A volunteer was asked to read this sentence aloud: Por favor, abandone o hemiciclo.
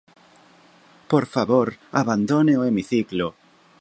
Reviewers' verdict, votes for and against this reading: accepted, 2, 0